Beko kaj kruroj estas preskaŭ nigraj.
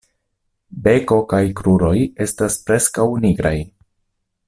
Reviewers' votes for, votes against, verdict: 2, 0, accepted